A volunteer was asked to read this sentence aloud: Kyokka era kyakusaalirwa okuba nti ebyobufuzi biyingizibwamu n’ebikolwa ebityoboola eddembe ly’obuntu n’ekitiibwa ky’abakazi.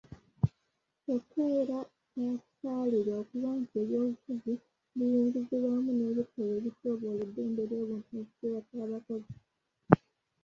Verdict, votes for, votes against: rejected, 0, 2